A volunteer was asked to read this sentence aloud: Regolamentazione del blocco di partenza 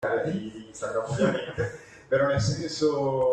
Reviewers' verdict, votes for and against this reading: rejected, 0, 2